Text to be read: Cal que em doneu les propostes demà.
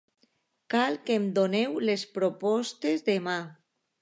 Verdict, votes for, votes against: accepted, 3, 0